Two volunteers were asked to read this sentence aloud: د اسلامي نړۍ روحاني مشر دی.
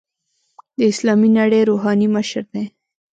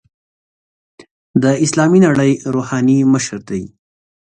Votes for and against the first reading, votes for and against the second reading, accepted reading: 1, 2, 3, 0, second